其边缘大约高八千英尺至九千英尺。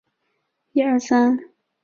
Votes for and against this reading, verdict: 2, 1, accepted